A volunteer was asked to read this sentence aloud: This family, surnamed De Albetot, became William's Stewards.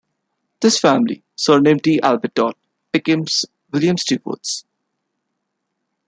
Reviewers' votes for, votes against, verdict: 1, 2, rejected